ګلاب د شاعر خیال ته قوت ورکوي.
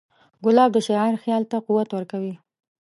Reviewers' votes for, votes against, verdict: 2, 0, accepted